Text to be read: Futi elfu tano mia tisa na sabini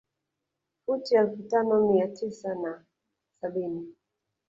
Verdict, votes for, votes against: rejected, 1, 2